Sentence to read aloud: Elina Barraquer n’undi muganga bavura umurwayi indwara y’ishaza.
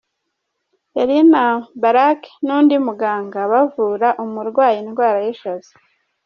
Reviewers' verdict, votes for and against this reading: rejected, 0, 2